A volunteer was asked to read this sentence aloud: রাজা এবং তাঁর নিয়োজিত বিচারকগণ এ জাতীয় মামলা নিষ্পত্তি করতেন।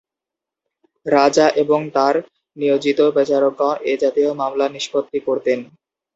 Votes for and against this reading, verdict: 2, 2, rejected